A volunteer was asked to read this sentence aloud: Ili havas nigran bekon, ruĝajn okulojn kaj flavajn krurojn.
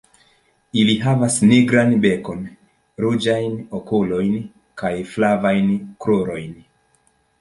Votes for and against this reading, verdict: 2, 0, accepted